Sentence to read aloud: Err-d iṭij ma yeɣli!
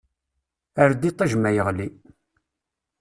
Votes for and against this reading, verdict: 2, 0, accepted